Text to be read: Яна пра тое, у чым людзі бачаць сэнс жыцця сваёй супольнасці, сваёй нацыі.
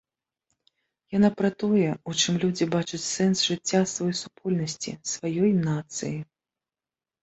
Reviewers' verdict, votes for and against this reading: accepted, 3, 0